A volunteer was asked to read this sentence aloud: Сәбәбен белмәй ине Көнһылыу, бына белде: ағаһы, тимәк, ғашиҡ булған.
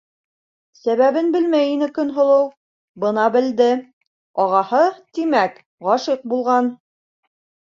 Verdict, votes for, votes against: accepted, 2, 0